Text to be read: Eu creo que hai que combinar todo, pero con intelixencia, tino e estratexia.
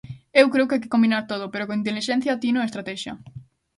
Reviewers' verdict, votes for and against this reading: accepted, 2, 0